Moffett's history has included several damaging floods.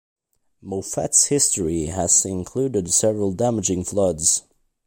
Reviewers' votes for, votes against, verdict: 3, 1, accepted